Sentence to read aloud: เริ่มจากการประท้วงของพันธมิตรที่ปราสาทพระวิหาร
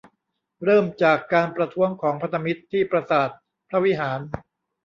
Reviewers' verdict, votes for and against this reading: rejected, 1, 2